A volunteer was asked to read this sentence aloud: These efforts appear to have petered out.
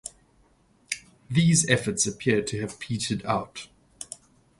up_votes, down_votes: 2, 2